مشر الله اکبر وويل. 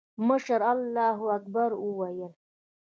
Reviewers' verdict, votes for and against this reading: accepted, 2, 1